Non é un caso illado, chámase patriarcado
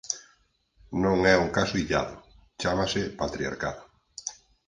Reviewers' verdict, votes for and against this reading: rejected, 2, 4